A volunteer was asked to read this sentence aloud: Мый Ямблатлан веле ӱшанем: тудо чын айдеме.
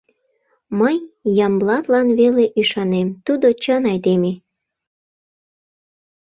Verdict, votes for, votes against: accepted, 2, 0